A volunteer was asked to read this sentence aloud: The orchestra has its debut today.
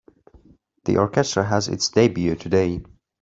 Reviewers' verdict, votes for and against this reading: accepted, 2, 0